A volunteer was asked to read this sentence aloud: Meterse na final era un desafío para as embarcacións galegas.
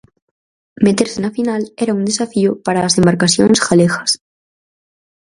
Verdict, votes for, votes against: accepted, 4, 0